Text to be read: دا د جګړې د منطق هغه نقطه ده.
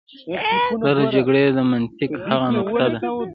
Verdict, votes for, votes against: rejected, 1, 2